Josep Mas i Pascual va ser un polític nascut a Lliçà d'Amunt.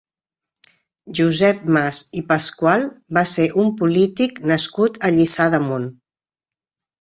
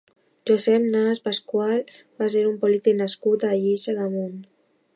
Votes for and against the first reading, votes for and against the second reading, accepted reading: 2, 0, 1, 2, first